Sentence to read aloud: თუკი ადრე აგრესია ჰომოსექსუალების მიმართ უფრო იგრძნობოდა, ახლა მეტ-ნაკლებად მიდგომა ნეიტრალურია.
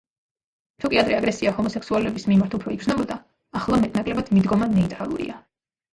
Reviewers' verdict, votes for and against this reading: accepted, 3, 2